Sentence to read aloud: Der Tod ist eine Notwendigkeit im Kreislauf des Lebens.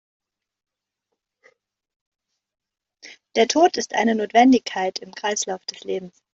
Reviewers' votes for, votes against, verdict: 1, 2, rejected